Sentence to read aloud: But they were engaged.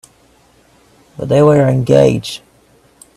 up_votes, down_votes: 2, 0